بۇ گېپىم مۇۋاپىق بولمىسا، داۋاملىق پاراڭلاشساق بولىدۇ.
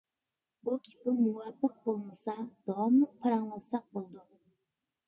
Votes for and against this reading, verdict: 2, 0, accepted